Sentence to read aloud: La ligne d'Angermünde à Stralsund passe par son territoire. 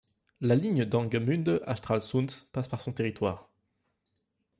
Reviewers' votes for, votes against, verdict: 1, 2, rejected